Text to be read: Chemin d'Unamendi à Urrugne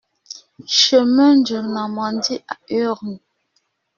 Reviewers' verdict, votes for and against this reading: rejected, 1, 2